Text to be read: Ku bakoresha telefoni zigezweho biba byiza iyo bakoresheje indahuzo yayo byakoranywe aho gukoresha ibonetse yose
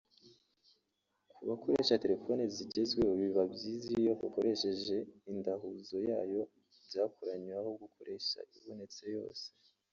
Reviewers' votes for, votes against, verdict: 0, 2, rejected